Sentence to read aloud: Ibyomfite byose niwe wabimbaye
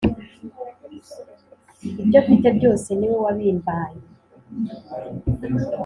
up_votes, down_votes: 3, 0